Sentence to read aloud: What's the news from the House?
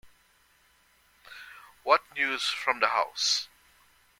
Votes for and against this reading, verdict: 0, 2, rejected